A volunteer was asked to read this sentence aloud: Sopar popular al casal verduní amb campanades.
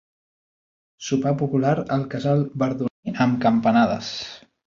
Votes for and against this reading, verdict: 1, 2, rejected